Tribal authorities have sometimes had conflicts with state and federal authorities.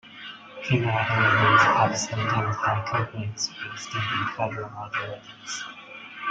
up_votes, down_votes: 0, 3